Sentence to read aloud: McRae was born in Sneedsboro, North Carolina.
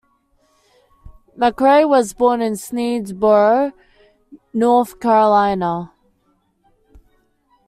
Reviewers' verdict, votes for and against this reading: accepted, 2, 0